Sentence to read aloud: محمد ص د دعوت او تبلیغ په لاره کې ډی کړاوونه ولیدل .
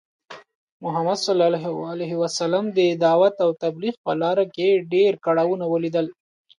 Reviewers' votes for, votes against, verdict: 2, 0, accepted